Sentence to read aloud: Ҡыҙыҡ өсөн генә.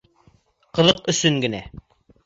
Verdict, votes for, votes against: accepted, 3, 0